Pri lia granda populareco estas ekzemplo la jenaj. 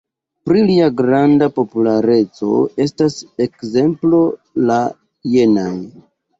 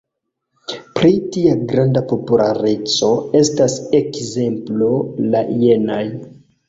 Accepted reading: first